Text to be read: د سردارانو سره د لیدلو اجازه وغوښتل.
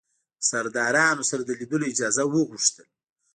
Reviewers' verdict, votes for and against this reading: accepted, 3, 0